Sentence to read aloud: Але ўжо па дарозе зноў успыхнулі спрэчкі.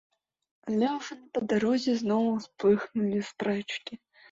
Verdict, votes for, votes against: rejected, 0, 2